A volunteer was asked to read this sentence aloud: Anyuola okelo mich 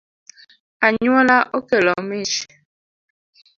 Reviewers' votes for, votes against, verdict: 2, 0, accepted